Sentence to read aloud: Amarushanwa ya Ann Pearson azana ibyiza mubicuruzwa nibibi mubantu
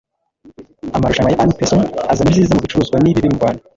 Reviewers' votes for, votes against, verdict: 1, 3, rejected